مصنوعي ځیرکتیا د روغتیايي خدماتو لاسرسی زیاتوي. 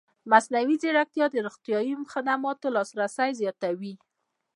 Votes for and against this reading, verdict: 0, 2, rejected